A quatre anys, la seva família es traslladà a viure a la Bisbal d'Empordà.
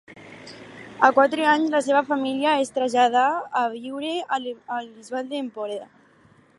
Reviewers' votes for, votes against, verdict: 0, 4, rejected